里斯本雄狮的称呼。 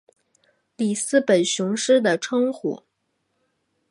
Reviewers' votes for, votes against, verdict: 2, 0, accepted